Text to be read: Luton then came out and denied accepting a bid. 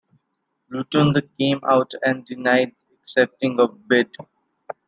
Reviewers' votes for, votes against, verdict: 1, 2, rejected